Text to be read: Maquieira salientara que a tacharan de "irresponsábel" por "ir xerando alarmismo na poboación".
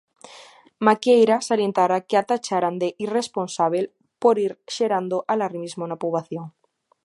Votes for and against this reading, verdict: 2, 0, accepted